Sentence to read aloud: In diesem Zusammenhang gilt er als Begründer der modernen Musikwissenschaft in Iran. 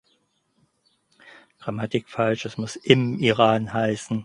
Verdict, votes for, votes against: rejected, 0, 4